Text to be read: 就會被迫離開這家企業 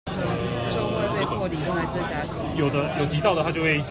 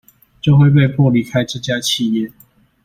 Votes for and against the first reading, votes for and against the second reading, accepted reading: 1, 2, 2, 0, second